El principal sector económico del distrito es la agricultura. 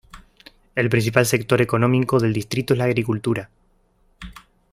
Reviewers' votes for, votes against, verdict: 1, 2, rejected